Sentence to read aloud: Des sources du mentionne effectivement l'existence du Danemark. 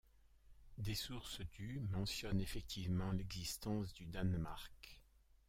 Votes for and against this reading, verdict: 0, 2, rejected